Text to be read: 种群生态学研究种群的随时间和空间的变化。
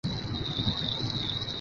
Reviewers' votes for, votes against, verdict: 1, 2, rejected